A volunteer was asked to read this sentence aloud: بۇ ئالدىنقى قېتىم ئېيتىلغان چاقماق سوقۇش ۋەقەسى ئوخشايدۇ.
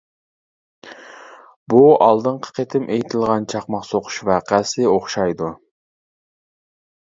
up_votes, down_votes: 2, 0